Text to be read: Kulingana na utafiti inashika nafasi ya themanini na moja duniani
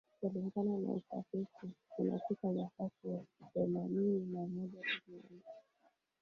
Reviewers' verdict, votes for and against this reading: rejected, 1, 2